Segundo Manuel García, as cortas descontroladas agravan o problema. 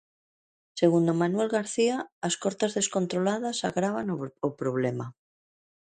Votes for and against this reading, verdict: 0, 2, rejected